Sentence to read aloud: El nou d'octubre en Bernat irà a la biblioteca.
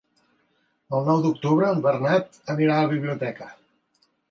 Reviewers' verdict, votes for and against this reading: rejected, 0, 2